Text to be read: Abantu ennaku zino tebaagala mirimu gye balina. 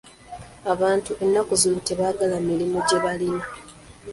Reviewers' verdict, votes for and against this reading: accepted, 2, 0